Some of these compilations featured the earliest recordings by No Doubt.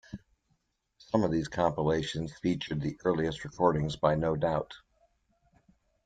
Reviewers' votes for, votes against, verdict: 2, 0, accepted